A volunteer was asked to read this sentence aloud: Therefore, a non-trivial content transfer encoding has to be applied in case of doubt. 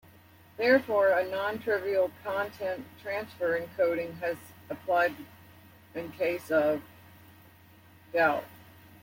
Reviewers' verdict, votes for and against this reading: rejected, 1, 2